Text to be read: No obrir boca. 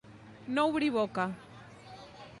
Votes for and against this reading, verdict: 2, 0, accepted